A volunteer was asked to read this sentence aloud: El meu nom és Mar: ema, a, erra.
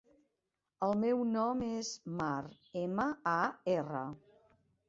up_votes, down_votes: 2, 0